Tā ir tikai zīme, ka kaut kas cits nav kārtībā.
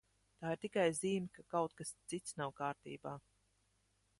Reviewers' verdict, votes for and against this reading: accepted, 2, 0